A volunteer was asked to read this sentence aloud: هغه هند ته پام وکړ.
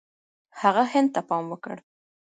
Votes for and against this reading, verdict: 0, 2, rejected